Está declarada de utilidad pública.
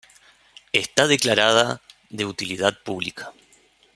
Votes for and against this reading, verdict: 2, 0, accepted